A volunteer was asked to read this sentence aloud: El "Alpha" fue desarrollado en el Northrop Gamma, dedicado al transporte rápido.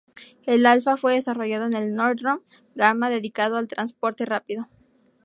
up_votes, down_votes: 0, 2